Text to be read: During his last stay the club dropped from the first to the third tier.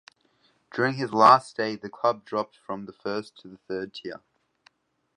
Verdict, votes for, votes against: rejected, 1, 2